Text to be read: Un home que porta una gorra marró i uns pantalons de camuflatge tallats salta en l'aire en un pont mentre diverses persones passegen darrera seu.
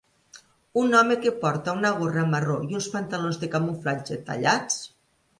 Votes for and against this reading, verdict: 0, 2, rejected